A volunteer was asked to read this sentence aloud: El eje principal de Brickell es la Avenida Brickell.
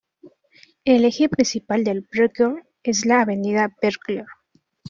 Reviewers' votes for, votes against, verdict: 0, 2, rejected